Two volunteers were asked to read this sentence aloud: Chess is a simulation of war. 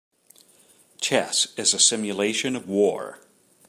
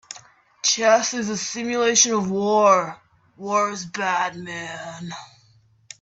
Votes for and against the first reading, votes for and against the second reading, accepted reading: 5, 0, 0, 2, first